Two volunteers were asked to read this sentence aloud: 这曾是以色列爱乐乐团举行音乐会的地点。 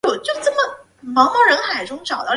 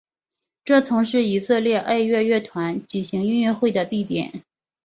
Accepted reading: second